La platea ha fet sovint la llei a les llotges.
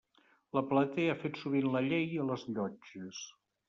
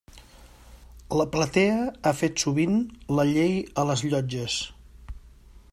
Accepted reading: second